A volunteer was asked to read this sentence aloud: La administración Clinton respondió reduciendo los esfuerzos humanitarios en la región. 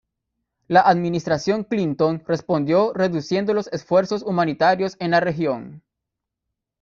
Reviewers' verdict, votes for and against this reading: rejected, 0, 2